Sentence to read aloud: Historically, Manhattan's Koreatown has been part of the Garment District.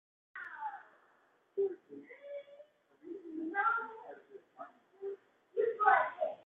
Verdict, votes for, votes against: rejected, 0, 2